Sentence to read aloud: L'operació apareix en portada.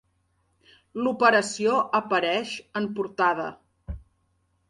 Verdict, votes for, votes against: accepted, 3, 0